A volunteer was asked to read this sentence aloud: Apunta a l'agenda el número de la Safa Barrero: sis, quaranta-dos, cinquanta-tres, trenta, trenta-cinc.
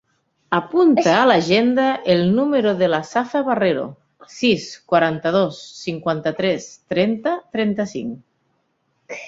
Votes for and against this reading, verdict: 3, 1, accepted